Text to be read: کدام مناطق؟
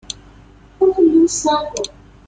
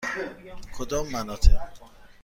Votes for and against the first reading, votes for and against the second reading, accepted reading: 2, 3, 2, 0, second